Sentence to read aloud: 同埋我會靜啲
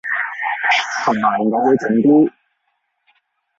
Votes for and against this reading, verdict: 0, 2, rejected